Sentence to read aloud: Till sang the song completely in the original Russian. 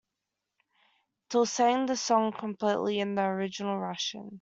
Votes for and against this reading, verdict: 2, 0, accepted